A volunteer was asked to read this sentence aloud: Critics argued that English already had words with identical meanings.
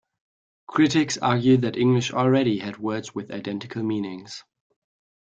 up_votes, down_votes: 2, 0